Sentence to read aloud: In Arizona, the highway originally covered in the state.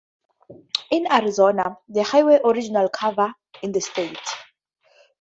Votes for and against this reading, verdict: 2, 0, accepted